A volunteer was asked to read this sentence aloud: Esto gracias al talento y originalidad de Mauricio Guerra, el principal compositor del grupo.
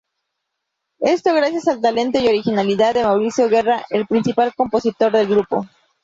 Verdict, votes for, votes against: rejected, 0, 2